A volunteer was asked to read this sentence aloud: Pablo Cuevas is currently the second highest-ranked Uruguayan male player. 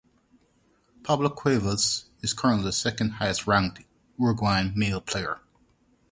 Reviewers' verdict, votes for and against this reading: accepted, 4, 0